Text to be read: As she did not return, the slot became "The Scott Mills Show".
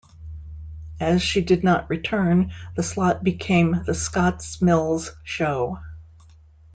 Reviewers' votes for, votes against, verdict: 0, 2, rejected